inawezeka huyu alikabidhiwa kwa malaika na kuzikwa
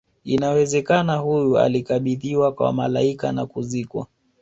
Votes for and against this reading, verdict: 3, 0, accepted